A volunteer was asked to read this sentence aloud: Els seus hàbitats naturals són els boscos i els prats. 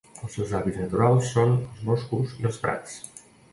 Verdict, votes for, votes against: rejected, 1, 2